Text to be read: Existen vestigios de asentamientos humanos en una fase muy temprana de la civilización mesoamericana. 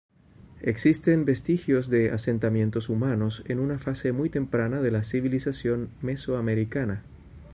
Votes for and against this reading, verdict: 2, 0, accepted